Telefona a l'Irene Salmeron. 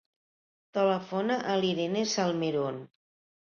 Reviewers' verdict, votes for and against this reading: accepted, 2, 0